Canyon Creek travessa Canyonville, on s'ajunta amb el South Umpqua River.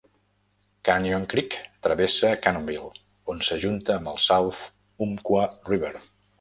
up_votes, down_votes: 0, 2